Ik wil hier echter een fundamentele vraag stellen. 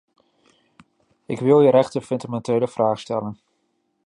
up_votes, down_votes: 1, 2